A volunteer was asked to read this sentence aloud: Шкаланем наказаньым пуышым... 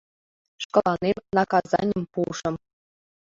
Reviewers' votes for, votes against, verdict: 2, 0, accepted